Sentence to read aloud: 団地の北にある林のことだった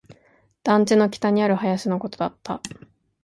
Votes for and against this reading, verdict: 7, 1, accepted